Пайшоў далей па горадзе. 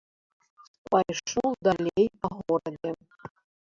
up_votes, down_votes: 0, 2